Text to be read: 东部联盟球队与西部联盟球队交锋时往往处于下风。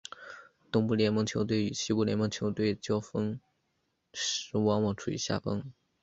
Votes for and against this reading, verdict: 0, 2, rejected